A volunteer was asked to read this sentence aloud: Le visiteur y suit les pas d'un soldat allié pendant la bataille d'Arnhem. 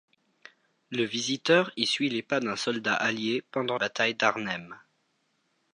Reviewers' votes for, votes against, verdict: 0, 2, rejected